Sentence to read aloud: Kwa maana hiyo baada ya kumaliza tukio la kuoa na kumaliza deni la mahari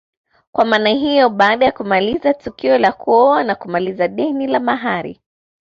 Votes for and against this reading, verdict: 2, 0, accepted